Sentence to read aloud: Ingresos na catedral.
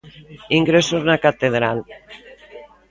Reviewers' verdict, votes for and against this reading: rejected, 1, 2